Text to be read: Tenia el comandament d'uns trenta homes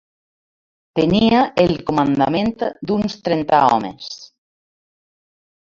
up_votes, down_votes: 2, 1